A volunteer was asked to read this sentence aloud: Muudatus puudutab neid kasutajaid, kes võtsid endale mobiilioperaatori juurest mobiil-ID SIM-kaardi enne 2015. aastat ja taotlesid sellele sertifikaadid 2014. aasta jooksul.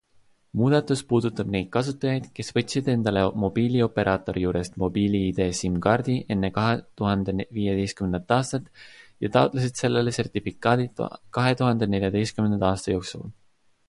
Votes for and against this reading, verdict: 0, 2, rejected